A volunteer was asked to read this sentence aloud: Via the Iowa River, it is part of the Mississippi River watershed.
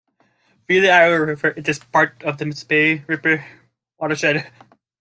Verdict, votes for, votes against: rejected, 0, 3